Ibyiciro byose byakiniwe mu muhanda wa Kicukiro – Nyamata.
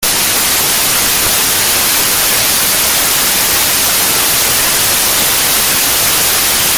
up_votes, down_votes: 0, 2